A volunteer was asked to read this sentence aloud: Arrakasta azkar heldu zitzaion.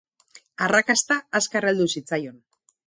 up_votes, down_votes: 2, 2